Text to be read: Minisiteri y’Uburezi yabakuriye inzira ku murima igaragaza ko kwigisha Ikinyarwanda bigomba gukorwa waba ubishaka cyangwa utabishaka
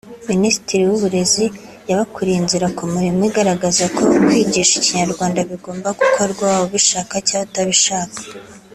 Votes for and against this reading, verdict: 2, 0, accepted